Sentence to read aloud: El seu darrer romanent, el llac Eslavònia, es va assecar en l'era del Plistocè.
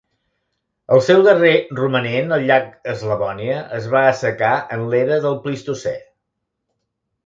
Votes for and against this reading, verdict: 0, 2, rejected